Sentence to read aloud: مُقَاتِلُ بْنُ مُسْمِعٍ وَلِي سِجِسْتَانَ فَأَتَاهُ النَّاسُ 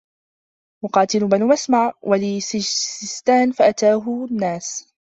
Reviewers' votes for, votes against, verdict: 0, 2, rejected